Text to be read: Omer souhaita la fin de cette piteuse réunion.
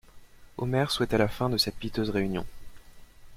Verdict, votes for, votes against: accepted, 2, 0